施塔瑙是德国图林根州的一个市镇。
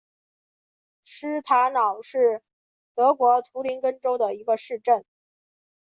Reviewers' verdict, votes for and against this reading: accepted, 3, 0